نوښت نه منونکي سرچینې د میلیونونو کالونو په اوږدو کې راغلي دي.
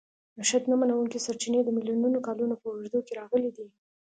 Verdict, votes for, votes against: accepted, 2, 0